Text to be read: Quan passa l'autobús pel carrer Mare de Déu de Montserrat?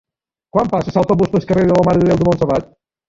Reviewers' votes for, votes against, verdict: 0, 2, rejected